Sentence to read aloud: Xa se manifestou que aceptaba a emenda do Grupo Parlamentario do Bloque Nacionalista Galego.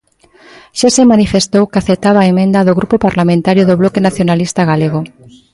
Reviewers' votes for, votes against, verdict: 2, 0, accepted